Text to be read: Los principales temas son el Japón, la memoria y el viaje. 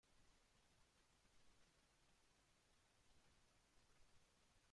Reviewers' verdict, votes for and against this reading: rejected, 0, 2